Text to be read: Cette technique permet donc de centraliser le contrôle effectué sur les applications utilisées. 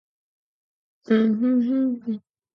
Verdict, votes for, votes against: rejected, 2, 4